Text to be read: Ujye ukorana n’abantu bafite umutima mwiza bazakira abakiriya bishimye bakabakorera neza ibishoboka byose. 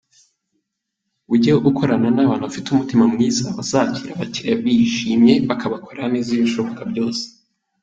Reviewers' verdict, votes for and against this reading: accepted, 4, 1